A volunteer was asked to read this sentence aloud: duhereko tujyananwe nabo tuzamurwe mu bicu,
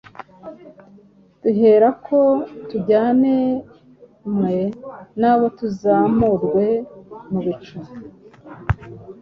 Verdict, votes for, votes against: rejected, 1, 2